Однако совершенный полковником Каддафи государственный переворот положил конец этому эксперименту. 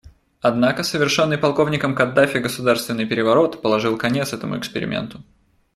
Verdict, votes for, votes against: accepted, 2, 0